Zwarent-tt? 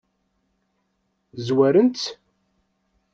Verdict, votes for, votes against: rejected, 1, 2